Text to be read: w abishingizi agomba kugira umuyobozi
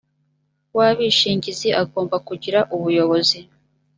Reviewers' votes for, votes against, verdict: 1, 2, rejected